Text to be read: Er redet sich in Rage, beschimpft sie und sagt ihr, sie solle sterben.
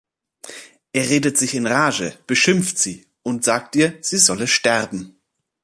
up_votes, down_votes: 2, 0